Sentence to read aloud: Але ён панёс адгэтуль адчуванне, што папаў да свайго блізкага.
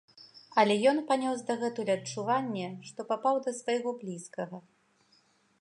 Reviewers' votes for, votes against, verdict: 1, 2, rejected